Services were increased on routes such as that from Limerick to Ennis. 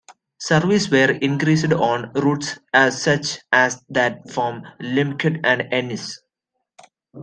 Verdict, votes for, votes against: rejected, 0, 2